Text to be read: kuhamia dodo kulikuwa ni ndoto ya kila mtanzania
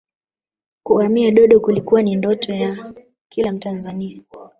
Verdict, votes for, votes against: rejected, 1, 2